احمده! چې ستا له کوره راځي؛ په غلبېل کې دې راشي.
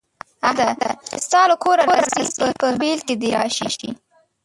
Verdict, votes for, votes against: rejected, 0, 2